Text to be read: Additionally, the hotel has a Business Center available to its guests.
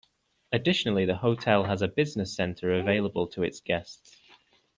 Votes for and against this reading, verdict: 2, 0, accepted